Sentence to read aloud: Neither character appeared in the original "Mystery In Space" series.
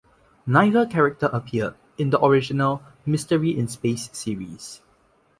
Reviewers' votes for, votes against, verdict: 2, 0, accepted